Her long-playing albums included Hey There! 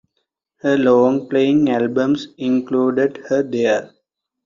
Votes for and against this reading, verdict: 1, 2, rejected